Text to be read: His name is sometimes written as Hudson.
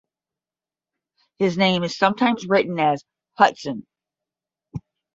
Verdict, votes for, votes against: accepted, 10, 0